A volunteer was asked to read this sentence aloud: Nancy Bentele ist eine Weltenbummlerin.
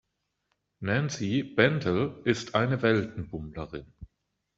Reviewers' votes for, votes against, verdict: 2, 1, accepted